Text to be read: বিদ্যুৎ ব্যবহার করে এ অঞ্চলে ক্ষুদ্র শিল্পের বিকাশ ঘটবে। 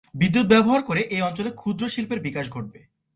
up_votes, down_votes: 2, 0